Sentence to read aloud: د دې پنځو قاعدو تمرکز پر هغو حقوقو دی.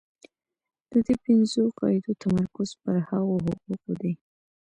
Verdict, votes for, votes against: accepted, 2, 0